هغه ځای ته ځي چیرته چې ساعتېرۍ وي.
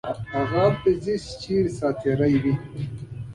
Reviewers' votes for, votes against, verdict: 0, 2, rejected